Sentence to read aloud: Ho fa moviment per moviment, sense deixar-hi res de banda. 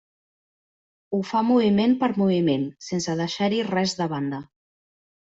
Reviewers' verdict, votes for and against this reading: accepted, 3, 0